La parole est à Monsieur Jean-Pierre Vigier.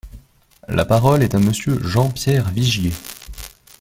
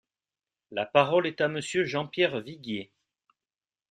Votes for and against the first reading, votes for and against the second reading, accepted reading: 3, 1, 0, 2, first